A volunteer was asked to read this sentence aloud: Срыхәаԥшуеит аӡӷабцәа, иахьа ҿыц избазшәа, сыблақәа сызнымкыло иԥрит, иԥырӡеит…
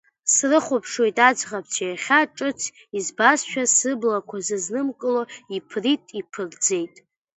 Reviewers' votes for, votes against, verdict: 2, 0, accepted